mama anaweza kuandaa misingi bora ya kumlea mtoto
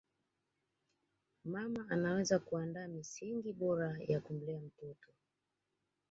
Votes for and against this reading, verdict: 1, 2, rejected